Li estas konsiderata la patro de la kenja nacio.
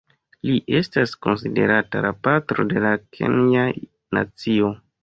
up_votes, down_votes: 2, 0